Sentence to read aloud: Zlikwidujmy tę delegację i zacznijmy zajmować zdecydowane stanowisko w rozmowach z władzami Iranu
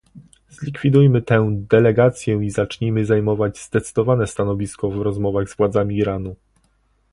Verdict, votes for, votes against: accepted, 2, 0